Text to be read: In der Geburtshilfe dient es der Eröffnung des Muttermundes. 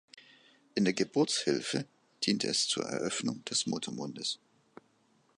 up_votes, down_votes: 1, 2